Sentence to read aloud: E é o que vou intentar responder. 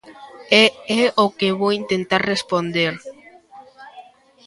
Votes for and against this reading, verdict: 1, 2, rejected